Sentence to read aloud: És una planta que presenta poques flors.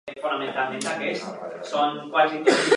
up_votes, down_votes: 0, 2